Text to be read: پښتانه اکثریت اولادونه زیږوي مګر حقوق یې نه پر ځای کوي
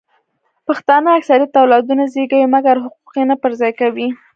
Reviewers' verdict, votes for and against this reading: rejected, 1, 2